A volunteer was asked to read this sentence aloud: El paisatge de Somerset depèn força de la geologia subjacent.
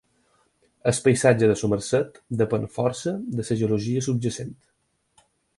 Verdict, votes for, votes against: rejected, 0, 4